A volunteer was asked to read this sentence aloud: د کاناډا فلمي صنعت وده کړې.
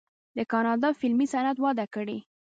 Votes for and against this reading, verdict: 0, 2, rejected